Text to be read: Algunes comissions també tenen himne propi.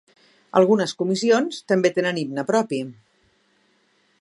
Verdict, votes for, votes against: accepted, 4, 0